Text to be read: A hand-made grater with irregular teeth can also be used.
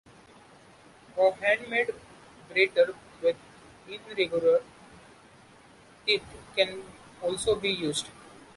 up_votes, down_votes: 2, 0